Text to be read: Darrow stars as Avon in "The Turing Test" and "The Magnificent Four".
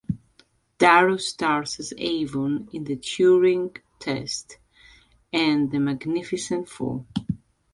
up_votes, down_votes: 2, 1